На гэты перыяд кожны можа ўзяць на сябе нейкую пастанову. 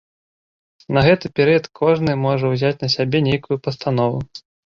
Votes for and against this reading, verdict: 2, 0, accepted